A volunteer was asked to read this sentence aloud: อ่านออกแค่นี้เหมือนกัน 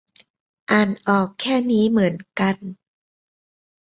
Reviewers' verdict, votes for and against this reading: accepted, 2, 0